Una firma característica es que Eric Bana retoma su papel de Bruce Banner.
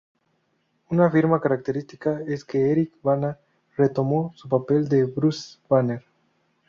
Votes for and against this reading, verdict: 0, 2, rejected